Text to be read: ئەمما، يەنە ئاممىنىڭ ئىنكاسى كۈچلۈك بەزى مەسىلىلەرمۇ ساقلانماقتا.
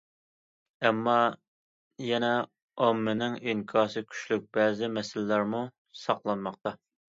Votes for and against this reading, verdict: 2, 0, accepted